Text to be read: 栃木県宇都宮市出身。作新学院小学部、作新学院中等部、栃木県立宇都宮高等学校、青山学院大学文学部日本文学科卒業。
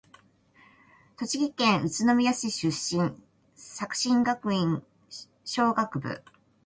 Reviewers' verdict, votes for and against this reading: rejected, 0, 2